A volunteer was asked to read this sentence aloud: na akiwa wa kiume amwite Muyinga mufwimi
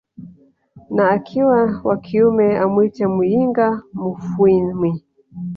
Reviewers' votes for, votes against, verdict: 4, 1, accepted